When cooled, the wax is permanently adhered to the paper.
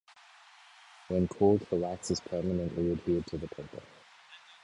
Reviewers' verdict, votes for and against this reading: rejected, 1, 3